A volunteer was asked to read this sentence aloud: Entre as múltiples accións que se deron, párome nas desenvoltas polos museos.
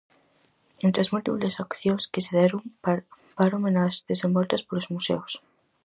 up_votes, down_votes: 0, 4